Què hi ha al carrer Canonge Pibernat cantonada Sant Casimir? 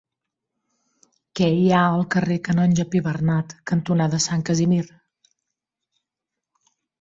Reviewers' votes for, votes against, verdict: 2, 0, accepted